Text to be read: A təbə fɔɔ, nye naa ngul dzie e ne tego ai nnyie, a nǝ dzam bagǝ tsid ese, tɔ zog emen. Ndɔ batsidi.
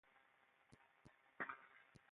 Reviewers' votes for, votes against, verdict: 1, 2, rejected